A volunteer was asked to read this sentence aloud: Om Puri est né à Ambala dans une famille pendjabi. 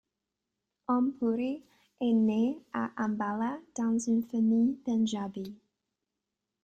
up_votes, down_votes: 2, 1